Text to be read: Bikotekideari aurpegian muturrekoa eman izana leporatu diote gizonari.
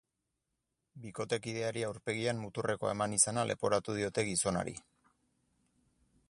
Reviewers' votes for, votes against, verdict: 6, 0, accepted